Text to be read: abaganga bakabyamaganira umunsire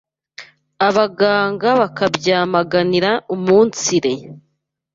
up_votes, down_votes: 2, 0